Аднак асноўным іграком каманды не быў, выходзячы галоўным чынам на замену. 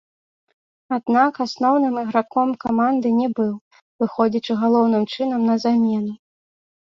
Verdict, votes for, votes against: accepted, 2, 0